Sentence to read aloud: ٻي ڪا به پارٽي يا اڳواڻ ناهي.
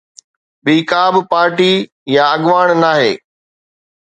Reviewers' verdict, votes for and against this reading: accepted, 2, 0